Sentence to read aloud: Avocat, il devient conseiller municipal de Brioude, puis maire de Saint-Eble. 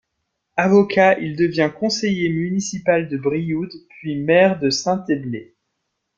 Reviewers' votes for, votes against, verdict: 2, 0, accepted